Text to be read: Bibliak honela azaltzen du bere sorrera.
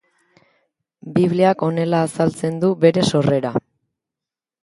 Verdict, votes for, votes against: accepted, 3, 0